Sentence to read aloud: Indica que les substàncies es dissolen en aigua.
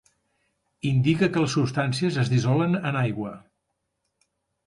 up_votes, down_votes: 3, 0